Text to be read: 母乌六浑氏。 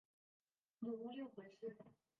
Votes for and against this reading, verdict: 1, 2, rejected